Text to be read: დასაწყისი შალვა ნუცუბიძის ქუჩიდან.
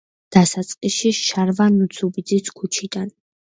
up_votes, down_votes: 0, 2